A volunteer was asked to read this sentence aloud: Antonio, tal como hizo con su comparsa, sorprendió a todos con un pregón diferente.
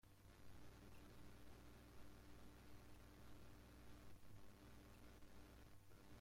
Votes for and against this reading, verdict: 0, 2, rejected